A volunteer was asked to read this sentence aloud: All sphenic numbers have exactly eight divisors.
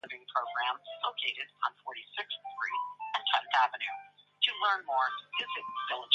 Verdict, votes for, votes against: rejected, 0, 2